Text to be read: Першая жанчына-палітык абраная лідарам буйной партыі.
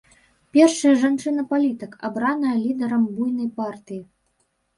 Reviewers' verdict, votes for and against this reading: rejected, 1, 2